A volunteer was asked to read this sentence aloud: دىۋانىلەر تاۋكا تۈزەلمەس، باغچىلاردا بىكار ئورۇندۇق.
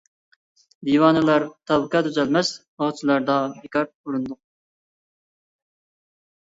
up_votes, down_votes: 1, 2